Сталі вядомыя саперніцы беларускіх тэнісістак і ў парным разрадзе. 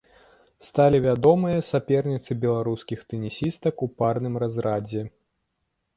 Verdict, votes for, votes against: rejected, 0, 2